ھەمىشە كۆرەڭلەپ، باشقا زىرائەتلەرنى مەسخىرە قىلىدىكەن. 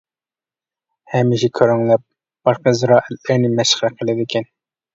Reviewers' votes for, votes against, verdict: 1, 2, rejected